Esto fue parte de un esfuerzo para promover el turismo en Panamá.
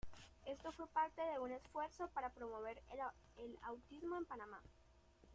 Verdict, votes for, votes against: rejected, 0, 2